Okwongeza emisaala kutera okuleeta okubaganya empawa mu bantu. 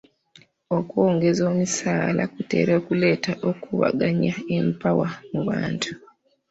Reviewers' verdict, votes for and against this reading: rejected, 0, 2